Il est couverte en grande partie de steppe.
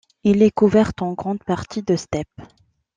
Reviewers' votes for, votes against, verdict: 2, 0, accepted